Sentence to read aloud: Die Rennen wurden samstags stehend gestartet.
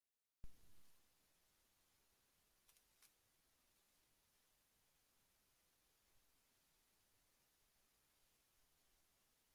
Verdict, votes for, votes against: rejected, 0, 2